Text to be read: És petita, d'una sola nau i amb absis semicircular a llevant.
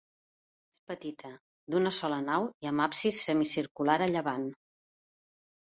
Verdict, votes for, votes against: rejected, 1, 2